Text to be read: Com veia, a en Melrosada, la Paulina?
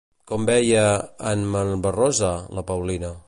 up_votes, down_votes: 0, 2